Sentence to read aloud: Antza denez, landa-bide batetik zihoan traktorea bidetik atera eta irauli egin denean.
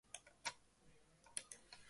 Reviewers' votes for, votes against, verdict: 0, 3, rejected